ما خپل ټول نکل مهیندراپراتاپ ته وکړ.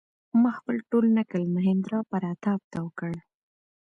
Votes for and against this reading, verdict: 2, 0, accepted